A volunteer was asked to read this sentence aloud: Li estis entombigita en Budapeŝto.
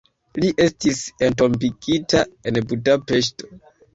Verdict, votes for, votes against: rejected, 1, 2